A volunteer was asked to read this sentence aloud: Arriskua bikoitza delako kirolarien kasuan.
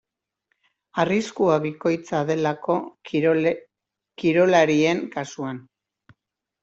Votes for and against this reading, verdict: 1, 2, rejected